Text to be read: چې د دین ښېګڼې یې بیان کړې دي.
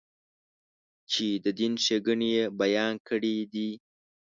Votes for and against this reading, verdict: 2, 0, accepted